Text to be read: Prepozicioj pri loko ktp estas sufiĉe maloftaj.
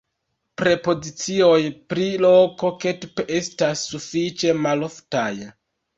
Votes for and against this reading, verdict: 1, 2, rejected